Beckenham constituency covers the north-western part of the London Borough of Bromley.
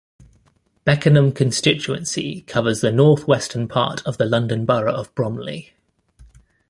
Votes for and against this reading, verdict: 2, 1, accepted